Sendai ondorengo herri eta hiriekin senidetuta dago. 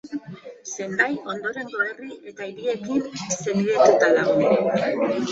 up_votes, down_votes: 1, 2